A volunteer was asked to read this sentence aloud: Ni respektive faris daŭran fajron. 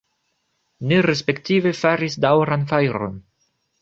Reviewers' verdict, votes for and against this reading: rejected, 1, 2